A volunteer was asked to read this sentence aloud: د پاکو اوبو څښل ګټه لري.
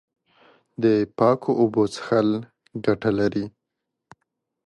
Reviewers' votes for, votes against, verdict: 2, 0, accepted